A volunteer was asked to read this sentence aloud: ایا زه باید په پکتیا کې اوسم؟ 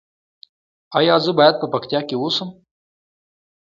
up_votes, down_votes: 2, 1